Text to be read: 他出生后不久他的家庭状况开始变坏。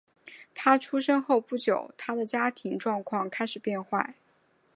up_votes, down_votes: 3, 0